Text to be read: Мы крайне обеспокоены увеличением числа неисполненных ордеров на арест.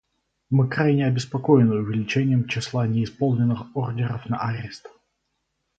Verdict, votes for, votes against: accepted, 4, 0